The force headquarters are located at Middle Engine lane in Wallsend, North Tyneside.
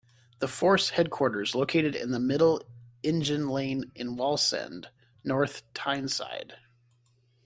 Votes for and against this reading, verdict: 1, 2, rejected